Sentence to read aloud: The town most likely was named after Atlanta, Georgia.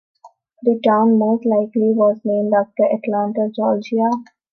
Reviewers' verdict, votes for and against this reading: accepted, 2, 0